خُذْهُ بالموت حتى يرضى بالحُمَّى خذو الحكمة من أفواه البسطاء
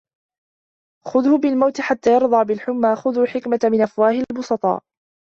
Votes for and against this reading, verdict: 2, 0, accepted